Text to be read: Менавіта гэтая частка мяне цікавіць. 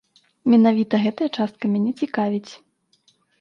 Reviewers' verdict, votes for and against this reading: accepted, 2, 0